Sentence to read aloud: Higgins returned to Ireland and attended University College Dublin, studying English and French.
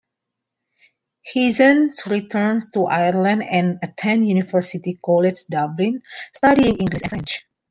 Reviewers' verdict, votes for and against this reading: rejected, 1, 2